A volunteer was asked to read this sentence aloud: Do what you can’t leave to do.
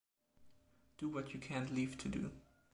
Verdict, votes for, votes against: accepted, 2, 0